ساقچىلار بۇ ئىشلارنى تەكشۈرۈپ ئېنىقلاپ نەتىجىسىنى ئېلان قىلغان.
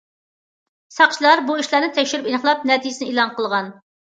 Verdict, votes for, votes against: accepted, 2, 0